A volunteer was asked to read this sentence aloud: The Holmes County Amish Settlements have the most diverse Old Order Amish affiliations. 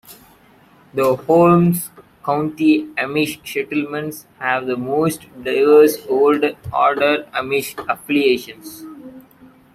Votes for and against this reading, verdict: 2, 1, accepted